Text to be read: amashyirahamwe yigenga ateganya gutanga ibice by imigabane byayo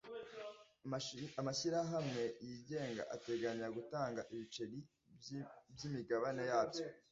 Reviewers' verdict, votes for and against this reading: rejected, 1, 2